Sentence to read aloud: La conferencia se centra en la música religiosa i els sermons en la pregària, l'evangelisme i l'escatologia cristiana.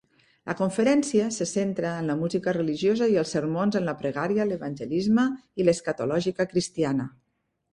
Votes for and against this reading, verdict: 0, 2, rejected